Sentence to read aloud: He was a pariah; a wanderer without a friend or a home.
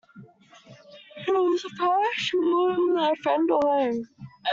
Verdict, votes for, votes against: rejected, 0, 2